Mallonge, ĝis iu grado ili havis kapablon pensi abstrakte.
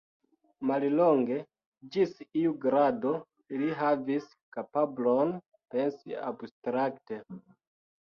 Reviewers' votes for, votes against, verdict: 2, 1, accepted